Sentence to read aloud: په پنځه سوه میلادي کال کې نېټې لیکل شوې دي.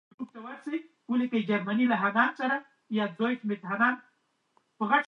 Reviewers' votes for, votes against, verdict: 0, 2, rejected